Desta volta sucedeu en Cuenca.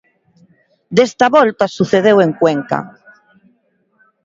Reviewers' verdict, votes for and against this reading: accepted, 2, 0